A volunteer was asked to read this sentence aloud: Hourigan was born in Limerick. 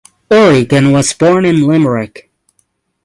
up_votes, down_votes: 3, 3